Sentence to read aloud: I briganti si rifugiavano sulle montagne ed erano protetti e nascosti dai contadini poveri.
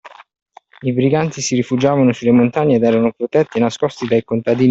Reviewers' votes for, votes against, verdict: 0, 2, rejected